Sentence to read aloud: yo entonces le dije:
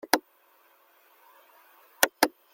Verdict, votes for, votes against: rejected, 0, 2